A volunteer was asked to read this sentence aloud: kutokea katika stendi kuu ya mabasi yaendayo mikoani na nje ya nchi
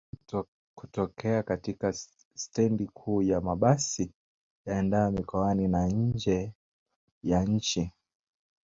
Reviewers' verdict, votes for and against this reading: accepted, 2, 1